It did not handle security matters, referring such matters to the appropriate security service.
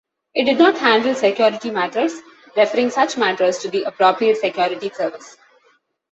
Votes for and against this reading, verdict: 2, 0, accepted